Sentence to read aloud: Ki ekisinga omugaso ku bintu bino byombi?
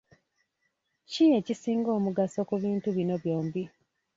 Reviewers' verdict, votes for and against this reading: accepted, 2, 0